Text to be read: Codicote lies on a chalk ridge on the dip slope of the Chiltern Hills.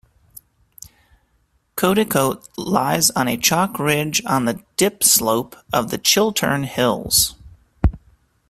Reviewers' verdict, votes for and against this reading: accepted, 2, 1